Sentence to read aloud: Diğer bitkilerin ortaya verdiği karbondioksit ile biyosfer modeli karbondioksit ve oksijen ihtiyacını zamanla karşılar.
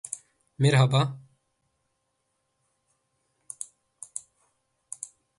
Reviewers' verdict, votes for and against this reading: rejected, 0, 4